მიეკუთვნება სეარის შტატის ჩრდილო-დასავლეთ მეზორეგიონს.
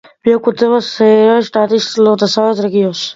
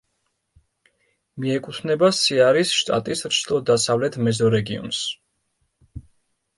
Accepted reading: second